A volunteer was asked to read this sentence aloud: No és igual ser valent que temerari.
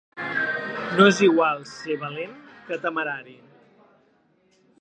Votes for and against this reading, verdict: 2, 1, accepted